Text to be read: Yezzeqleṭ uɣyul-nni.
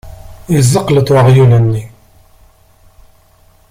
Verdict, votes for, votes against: accepted, 2, 0